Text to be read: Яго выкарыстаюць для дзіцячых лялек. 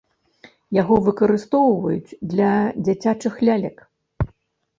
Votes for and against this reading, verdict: 0, 2, rejected